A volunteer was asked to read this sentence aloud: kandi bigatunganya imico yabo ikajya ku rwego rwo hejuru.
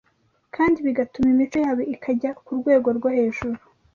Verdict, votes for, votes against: rejected, 1, 2